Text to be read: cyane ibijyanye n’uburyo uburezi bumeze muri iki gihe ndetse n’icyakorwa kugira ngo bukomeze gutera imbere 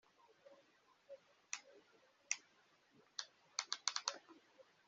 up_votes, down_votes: 1, 3